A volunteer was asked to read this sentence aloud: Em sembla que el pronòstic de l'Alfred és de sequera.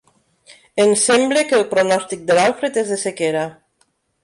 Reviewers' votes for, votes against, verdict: 2, 1, accepted